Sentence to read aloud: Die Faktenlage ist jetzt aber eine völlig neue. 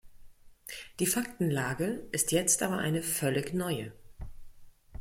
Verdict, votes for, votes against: accepted, 2, 0